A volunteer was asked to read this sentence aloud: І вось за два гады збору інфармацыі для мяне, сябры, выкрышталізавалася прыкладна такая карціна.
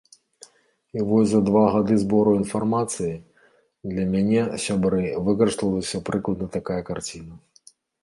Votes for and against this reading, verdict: 1, 3, rejected